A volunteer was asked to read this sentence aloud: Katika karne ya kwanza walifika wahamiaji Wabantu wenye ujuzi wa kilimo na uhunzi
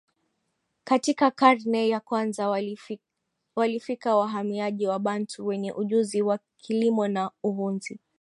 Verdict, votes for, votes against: rejected, 1, 2